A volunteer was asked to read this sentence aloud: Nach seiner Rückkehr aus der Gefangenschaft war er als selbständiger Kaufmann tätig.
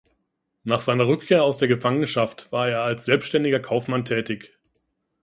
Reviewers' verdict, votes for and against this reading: accepted, 2, 0